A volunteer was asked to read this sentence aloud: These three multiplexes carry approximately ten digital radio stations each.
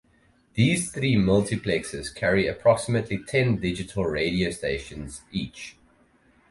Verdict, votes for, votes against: accepted, 4, 0